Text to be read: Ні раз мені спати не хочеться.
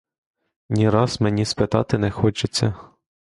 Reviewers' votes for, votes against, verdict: 0, 2, rejected